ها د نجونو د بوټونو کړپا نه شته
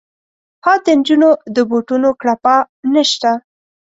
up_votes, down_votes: 2, 0